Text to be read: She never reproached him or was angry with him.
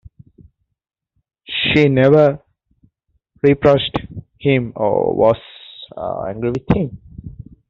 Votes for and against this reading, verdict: 2, 1, accepted